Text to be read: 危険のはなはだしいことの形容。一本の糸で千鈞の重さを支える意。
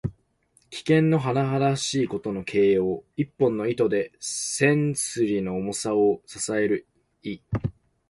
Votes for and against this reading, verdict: 2, 0, accepted